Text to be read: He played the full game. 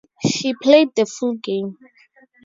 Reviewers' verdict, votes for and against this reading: rejected, 2, 2